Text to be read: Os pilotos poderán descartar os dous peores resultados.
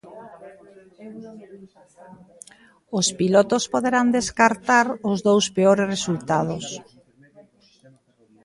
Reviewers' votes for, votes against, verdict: 1, 2, rejected